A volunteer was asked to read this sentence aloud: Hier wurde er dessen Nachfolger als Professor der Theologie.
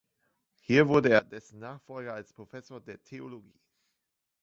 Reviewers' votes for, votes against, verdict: 1, 3, rejected